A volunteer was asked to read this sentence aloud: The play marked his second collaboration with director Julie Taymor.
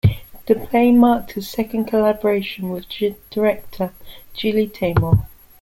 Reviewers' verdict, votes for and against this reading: rejected, 0, 2